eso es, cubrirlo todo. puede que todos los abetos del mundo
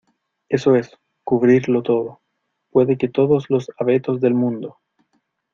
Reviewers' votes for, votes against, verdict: 2, 0, accepted